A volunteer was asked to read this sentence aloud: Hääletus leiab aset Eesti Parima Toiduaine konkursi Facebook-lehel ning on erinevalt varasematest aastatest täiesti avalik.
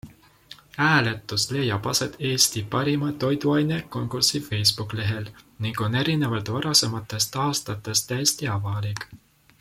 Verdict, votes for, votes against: accepted, 2, 0